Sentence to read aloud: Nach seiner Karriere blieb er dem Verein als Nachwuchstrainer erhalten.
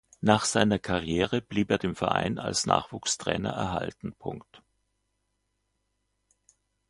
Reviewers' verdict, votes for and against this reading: accepted, 2, 0